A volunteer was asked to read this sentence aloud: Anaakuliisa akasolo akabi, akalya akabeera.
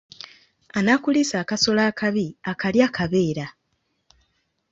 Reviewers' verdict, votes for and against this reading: accepted, 2, 0